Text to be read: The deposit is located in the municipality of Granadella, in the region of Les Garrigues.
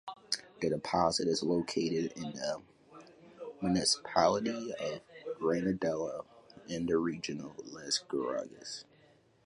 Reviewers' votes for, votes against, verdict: 1, 2, rejected